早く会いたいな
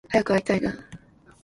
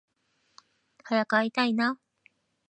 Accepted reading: second